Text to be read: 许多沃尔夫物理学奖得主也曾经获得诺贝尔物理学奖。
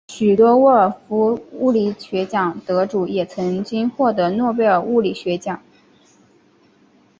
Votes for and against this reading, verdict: 2, 1, accepted